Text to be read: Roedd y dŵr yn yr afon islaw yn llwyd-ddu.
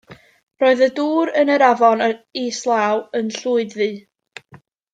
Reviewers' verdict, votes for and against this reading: rejected, 1, 2